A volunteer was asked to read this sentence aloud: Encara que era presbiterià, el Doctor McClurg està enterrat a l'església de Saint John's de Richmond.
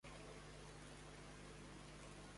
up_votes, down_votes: 0, 2